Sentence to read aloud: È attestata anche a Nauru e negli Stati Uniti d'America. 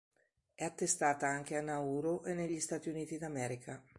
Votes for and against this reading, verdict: 2, 0, accepted